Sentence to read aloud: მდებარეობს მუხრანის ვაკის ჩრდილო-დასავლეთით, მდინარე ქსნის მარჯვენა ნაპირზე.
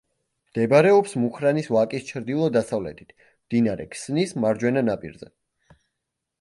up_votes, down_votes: 2, 0